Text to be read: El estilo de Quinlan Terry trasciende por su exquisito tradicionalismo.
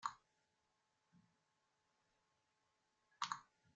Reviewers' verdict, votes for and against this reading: rejected, 0, 2